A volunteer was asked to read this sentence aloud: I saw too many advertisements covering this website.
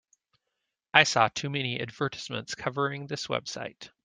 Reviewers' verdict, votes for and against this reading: rejected, 1, 2